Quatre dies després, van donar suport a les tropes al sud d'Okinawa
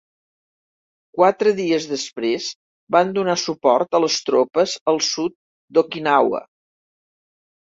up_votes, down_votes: 2, 0